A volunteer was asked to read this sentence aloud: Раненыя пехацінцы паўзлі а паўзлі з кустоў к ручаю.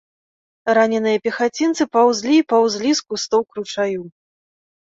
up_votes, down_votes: 1, 2